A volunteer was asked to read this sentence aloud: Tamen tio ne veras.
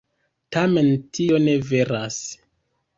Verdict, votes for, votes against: rejected, 1, 2